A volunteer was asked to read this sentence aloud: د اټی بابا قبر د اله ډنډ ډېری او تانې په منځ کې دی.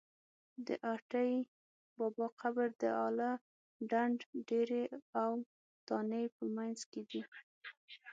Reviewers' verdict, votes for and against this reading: rejected, 0, 6